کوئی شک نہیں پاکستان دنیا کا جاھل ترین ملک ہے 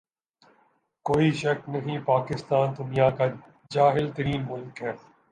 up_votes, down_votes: 2, 0